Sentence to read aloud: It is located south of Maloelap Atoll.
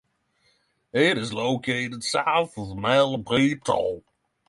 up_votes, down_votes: 0, 3